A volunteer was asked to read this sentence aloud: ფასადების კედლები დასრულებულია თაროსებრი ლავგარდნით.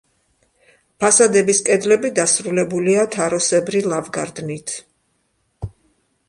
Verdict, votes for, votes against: accepted, 2, 0